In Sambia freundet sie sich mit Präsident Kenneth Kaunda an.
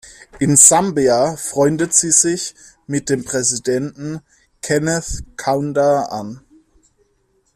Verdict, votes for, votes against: rejected, 1, 2